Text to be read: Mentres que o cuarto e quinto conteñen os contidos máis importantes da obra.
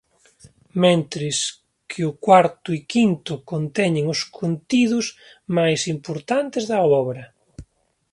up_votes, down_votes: 28, 1